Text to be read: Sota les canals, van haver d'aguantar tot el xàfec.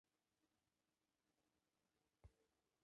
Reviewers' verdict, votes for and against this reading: rejected, 0, 2